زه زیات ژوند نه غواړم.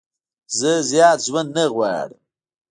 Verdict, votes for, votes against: rejected, 0, 2